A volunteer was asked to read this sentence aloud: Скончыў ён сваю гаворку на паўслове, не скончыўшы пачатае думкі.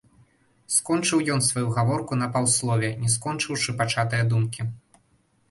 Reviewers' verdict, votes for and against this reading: rejected, 0, 2